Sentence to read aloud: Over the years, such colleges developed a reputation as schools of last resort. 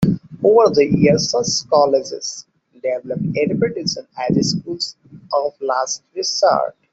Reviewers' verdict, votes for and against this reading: rejected, 1, 2